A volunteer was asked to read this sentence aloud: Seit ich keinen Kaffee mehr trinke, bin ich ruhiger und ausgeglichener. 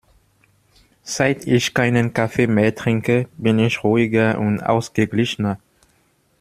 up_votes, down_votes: 2, 0